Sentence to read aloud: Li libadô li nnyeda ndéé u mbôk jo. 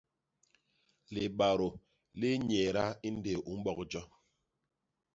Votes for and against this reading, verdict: 1, 2, rejected